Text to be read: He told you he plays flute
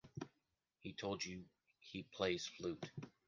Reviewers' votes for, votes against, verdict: 1, 2, rejected